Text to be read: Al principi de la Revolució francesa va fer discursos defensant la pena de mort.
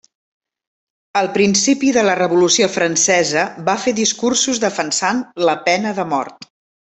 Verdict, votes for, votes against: accepted, 3, 0